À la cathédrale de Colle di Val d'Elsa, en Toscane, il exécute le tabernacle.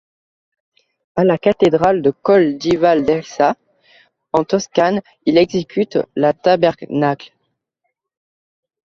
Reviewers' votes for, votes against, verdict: 0, 2, rejected